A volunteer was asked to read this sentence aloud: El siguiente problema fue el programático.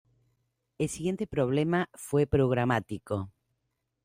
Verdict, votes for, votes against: rejected, 0, 2